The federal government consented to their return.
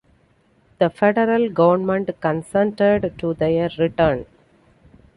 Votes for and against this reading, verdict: 2, 0, accepted